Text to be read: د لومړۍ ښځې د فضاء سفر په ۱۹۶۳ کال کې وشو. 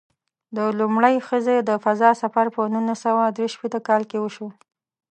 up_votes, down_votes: 0, 2